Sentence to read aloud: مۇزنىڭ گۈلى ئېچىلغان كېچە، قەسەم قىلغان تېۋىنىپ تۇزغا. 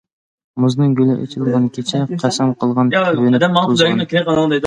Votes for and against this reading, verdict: 1, 2, rejected